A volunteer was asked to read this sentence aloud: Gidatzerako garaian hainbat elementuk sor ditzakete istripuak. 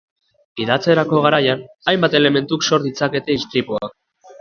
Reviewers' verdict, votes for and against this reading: accepted, 2, 0